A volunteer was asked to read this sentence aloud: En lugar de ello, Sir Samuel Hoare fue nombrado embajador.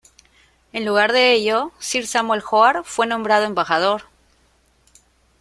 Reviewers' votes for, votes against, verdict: 2, 0, accepted